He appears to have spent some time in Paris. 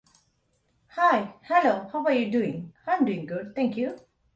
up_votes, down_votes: 0, 2